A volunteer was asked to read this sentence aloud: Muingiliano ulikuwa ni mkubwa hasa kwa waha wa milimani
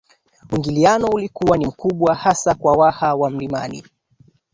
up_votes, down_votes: 1, 2